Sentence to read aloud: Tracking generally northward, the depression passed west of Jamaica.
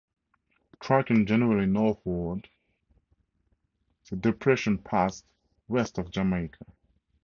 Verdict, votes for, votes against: accepted, 2, 0